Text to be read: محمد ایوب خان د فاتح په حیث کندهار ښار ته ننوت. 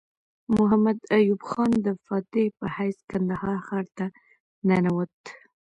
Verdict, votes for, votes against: accepted, 2, 0